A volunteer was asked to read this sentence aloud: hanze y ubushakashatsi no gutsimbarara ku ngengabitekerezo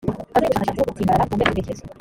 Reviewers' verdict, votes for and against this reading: rejected, 0, 2